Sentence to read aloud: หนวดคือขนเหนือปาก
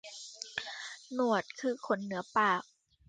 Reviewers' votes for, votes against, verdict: 2, 0, accepted